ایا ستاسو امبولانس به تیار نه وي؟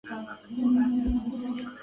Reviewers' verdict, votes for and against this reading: rejected, 0, 2